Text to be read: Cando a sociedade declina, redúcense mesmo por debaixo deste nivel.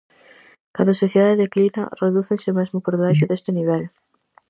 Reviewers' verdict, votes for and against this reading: rejected, 2, 2